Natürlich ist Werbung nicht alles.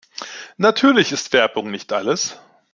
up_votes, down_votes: 2, 0